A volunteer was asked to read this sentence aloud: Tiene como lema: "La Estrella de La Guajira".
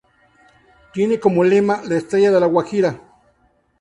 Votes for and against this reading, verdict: 2, 0, accepted